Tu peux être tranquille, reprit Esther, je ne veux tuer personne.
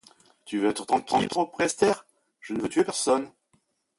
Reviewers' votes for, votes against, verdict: 0, 2, rejected